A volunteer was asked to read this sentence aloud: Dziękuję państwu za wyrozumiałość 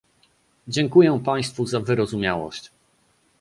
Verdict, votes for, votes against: accepted, 2, 0